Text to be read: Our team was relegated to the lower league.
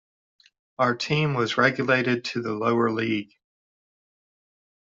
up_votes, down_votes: 0, 2